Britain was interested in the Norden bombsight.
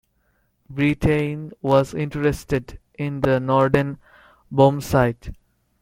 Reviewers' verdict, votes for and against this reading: rejected, 0, 2